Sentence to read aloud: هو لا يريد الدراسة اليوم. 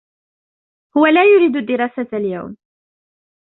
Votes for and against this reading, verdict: 2, 1, accepted